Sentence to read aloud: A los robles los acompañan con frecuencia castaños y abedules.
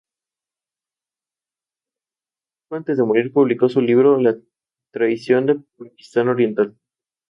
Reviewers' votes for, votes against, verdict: 2, 2, rejected